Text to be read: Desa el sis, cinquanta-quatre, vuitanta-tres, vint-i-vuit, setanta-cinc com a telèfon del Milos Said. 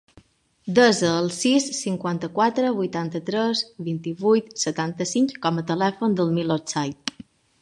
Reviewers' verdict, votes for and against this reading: rejected, 1, 2